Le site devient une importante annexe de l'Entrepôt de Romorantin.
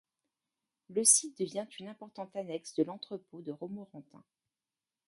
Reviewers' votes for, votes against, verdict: 1, 2, rejected